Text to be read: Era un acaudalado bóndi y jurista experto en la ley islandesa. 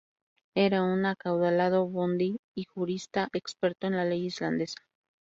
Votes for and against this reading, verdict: 2, 0, accepted